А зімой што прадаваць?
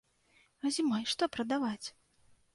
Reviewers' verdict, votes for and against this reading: accepted, 2, 0